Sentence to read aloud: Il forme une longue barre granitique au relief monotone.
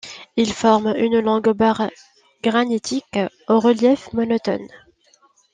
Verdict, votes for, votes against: accepted, 2, 0